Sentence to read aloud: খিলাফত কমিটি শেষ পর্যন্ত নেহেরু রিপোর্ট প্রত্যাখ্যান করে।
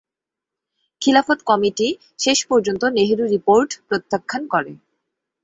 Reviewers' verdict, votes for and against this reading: accepted, 2, 0